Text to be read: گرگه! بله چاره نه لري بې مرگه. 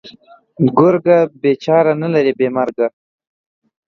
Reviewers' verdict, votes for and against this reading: rejected, 1, 2